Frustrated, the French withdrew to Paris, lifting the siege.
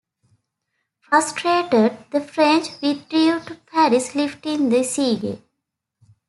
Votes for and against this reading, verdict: 0, 2, rejected